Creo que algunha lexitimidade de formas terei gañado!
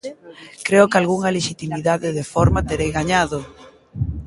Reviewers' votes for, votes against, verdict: 0, 2, rejected